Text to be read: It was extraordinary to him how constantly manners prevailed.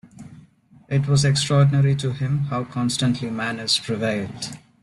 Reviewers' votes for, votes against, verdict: 2, 0, accepted